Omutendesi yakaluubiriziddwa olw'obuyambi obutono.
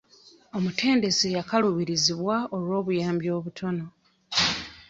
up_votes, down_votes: 0, 3